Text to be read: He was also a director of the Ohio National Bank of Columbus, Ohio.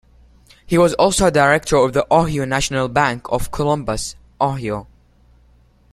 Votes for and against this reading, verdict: 0, 2, rejected